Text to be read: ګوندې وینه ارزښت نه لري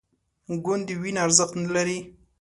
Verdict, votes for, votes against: accepted, 5, 0